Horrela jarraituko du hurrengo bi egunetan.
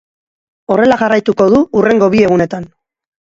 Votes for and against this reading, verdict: 4, 0, accepted